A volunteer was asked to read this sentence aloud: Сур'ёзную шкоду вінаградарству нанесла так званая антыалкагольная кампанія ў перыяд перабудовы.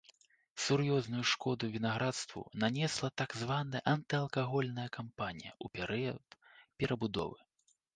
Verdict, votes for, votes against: rejected, 1, 2